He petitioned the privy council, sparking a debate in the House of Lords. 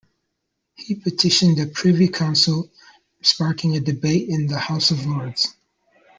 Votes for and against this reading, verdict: 0, 2, rejected